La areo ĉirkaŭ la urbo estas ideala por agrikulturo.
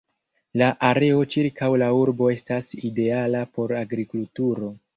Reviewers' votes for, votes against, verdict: 0, 2, rejected